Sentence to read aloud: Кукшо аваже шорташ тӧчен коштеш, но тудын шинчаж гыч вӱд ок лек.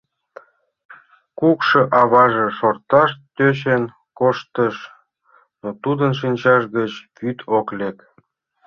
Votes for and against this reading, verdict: 0, 2, rejected